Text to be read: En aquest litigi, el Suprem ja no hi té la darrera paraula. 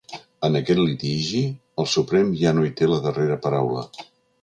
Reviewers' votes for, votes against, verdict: 3, 0, accepted